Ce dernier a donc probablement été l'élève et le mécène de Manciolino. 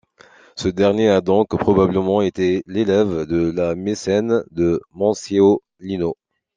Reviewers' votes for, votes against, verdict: 1, 2, rejected